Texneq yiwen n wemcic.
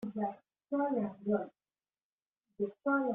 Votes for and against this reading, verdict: 0, 2, rejected